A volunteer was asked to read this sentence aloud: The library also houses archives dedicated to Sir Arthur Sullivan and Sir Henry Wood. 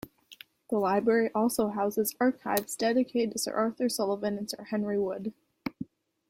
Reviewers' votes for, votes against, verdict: 2, 0, accepted